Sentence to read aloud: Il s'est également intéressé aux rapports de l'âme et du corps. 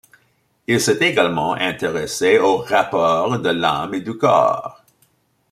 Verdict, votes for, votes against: accepted, 2, 0